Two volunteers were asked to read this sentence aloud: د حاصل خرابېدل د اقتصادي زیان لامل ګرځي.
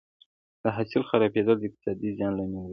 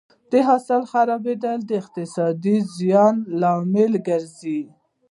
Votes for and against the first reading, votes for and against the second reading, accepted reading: 2, 0, 1, 2, first